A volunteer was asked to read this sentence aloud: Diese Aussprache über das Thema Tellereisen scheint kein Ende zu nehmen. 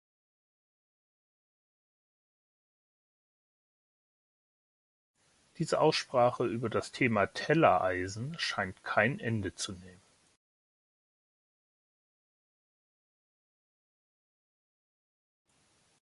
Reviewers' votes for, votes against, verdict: 0, 2, rejected